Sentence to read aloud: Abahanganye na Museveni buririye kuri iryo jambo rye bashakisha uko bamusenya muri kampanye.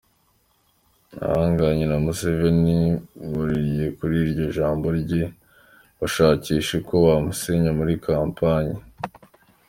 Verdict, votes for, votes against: accepted, 2, 0